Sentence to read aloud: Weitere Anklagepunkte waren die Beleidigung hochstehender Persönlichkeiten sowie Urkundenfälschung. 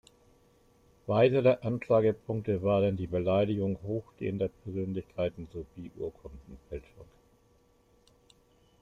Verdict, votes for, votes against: accepted, 2, 0